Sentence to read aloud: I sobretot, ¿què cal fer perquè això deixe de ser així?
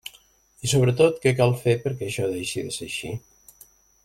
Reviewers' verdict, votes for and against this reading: accepted, 2, 1